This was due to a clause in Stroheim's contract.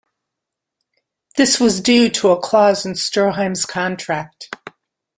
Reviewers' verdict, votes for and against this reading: accepted, 2, 0